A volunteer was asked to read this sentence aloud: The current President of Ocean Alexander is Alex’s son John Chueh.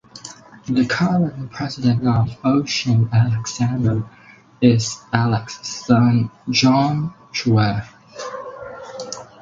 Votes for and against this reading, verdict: 4, 2, accepted